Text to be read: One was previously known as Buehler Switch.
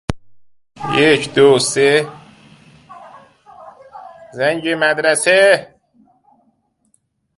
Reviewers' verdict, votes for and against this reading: rejected, 0, 2